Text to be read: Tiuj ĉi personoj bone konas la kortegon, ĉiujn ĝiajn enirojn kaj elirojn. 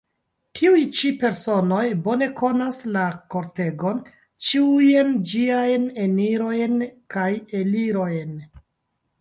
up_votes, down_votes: 0, 2